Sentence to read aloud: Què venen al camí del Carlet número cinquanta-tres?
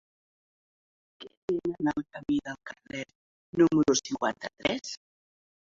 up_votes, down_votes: 0, 2